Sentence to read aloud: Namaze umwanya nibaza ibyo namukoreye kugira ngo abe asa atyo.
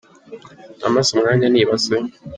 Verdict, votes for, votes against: rejected, 0, 3